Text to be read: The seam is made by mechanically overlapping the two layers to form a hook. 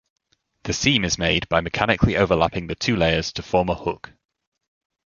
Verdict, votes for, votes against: accepted, 2, 0